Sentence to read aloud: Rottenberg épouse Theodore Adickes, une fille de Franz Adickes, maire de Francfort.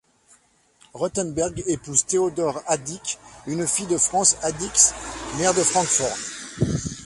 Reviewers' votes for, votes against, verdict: 0, 2, rejected